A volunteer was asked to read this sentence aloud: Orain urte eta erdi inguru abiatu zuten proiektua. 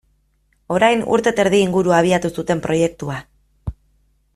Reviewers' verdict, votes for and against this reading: accepted, 2, 0